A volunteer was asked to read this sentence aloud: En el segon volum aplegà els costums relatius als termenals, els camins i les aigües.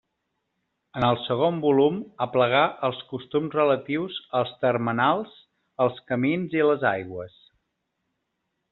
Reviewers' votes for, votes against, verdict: 2, 0, accepted